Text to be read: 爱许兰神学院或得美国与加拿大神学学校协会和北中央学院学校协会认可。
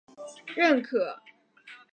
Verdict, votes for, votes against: rejected, 0, 4